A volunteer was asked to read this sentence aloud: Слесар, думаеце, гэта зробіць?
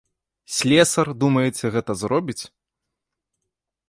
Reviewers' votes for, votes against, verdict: 2, 0, accepted